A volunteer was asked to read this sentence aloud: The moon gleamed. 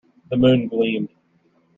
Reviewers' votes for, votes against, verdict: 1, 2, rejected